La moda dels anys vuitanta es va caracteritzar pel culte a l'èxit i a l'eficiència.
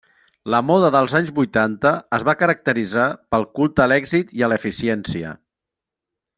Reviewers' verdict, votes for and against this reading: accepted, 3, 0